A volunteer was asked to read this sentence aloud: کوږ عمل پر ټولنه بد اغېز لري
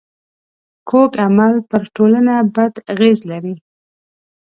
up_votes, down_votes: 2, 0